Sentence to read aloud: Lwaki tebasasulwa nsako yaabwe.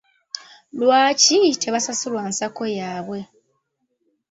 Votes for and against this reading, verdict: 3, 0, accepted